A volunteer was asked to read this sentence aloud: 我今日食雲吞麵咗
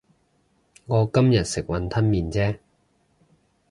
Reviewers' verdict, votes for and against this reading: rejected, 0, 2